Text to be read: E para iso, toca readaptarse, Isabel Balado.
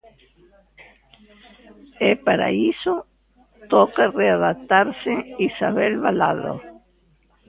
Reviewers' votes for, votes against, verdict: 0, 2, rejected